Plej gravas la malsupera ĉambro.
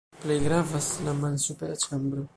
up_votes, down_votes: 2, 1